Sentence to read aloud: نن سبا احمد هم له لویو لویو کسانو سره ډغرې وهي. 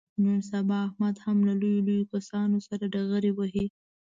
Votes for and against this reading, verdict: 2, 0, accepted